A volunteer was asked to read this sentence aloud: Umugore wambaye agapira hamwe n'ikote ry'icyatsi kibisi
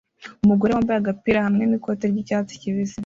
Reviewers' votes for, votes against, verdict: 2, 0, accepted